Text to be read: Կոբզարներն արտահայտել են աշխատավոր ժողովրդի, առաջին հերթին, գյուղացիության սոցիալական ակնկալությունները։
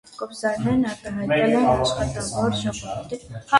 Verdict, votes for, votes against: rejected, 0, 2